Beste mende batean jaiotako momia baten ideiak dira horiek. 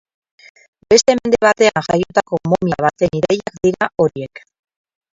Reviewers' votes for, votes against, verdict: 0, 4, rejected